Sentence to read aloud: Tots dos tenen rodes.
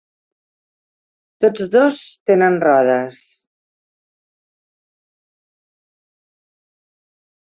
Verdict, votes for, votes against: accepted, 3, 0